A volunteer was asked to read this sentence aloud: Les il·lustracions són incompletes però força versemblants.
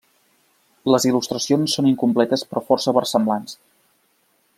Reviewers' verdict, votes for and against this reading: accepted, 2, 0